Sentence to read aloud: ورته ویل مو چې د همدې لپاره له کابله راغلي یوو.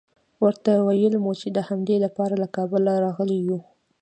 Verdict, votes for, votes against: accepted, 2, 0